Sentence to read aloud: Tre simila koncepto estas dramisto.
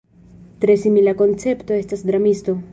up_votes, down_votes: 1, 2